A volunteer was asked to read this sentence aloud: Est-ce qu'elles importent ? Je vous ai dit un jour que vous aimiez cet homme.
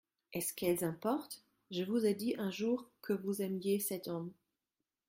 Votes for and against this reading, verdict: 1, 2, rejected